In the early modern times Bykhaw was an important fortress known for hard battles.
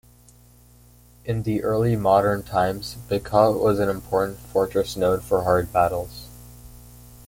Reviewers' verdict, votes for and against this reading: accepted, 2, 1